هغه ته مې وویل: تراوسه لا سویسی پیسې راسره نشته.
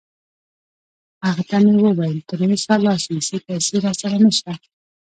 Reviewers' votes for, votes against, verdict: 2, 0, accepted